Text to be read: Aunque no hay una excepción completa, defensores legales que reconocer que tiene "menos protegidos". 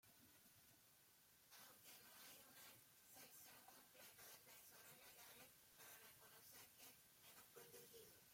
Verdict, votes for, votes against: rejected, 0, 2